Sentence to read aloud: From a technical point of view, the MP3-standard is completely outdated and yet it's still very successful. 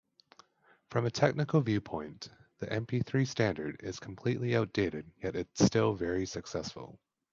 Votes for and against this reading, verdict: 0, 2, rejected